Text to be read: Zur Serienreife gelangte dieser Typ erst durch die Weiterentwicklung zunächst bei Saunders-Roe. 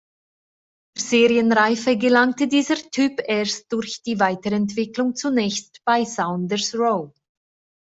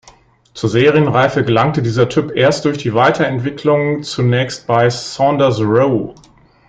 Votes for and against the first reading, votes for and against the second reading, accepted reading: 1, 2, 3, 0, second